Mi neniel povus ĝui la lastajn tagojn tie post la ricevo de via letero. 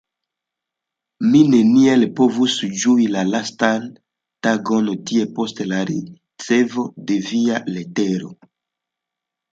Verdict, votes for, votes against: accepted, 2, 0